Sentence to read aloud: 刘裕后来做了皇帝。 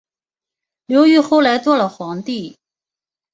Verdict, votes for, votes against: accepted, 5, 0